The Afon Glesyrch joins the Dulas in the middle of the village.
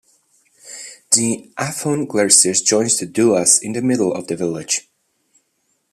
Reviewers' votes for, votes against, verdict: 2, 1, accepted